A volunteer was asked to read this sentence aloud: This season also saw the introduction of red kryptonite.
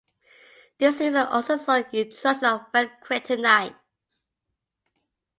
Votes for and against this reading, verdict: 0, 2, rejected